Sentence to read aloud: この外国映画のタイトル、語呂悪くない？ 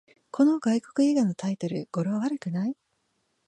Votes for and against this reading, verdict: 9, 1, accepted